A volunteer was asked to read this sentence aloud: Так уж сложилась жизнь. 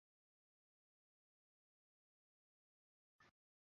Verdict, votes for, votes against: rejected, 0, 2